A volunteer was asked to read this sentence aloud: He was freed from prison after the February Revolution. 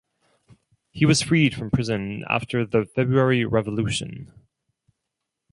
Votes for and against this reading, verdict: 2, 0, accepted